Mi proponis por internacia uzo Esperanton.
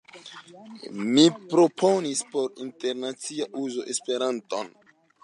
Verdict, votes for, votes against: accepted, 2, 0